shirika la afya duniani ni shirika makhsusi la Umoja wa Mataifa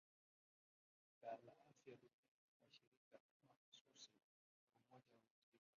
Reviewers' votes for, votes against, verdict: 1, 8, rejected